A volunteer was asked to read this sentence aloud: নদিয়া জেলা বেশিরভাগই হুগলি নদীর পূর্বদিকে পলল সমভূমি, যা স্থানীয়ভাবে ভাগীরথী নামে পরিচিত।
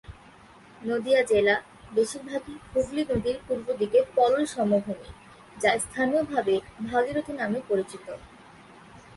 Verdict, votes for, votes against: accepted, 2, 0